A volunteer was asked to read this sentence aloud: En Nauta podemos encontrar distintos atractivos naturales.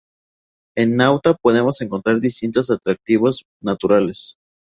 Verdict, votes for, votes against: accepted, 4, 0